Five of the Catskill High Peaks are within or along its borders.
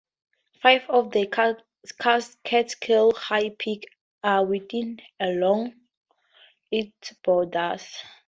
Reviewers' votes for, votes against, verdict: 0, 4, rejected